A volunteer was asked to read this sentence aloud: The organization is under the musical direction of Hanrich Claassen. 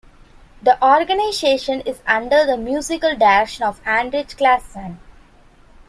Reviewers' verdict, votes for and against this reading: accepted, 2, 0